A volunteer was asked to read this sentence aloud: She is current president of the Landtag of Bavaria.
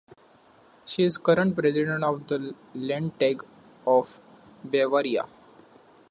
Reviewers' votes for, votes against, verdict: 2, 0, accepted